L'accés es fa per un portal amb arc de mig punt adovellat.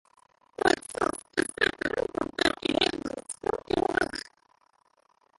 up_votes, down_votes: 0, 2